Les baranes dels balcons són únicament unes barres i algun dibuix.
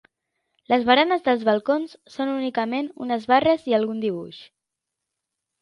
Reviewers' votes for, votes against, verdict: 5, 0, accepted